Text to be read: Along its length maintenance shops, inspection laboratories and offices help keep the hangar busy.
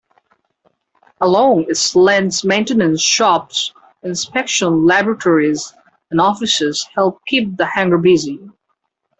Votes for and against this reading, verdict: 1, 2, rejected